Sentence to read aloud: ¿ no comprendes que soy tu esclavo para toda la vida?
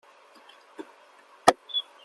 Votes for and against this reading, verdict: 0, 2, rejected